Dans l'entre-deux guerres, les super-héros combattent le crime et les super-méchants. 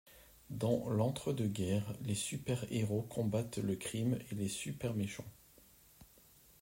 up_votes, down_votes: 2, 0